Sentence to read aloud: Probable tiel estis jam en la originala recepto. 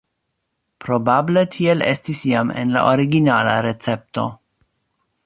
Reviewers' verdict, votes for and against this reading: accepted, 2, 1